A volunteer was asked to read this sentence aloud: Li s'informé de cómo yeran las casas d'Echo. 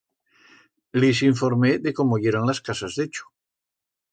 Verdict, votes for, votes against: accepted, 2, 0